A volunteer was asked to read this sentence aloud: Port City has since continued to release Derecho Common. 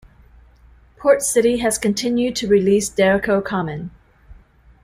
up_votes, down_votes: 1, 2